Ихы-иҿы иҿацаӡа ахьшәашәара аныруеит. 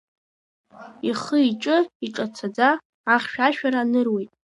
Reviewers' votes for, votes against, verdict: 2, 1, accepted